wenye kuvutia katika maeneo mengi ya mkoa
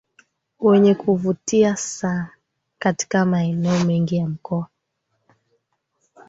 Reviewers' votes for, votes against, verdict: 0, 2, rejected